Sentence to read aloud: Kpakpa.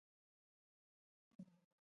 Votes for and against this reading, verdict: 1, 2, rejected